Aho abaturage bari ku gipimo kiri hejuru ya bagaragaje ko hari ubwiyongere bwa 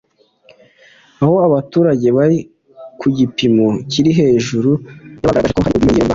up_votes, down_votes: 3, 2